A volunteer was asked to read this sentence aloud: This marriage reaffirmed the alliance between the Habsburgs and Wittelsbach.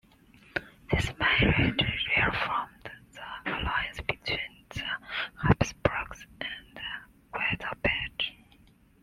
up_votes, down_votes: 0, 2